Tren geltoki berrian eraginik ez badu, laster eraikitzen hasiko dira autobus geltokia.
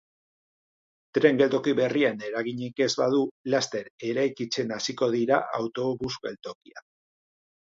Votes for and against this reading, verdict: 3, 0, accepted